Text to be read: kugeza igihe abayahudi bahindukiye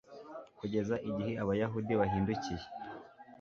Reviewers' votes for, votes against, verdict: 0, 2, rejected